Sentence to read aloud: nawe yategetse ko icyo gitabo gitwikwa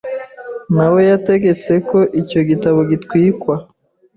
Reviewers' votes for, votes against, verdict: 2, 0, accepted